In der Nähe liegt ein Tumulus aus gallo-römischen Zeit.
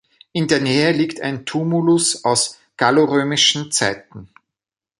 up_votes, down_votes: 0, 2